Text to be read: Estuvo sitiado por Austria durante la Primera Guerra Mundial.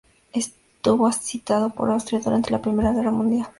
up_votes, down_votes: 0, 2